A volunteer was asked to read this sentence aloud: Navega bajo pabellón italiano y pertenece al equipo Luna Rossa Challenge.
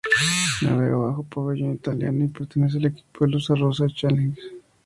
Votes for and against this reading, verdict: 0, 4, rejected